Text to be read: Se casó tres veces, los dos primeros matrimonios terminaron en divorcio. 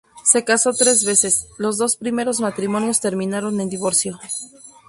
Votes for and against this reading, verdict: 4, 0, accepted